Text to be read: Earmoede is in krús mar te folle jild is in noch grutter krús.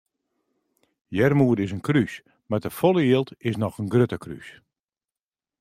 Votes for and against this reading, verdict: 2, 1, accepted